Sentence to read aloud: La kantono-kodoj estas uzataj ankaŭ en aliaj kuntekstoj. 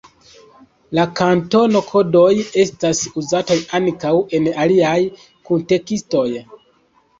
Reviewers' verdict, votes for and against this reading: accepted, 2, 0